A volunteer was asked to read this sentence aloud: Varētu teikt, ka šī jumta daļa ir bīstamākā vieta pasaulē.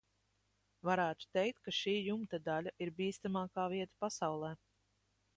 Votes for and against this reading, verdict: 2, 0, accepted